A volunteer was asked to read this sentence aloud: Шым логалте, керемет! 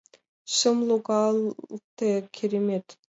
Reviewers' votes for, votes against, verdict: 1, 2, rejected